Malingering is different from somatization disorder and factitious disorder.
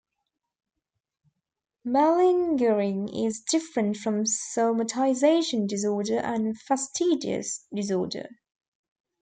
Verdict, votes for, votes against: rejected, 0, 2